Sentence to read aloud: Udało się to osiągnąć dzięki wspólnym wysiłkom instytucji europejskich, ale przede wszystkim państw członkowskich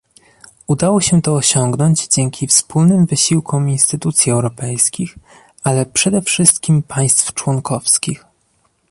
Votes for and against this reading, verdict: 2, 0, accepted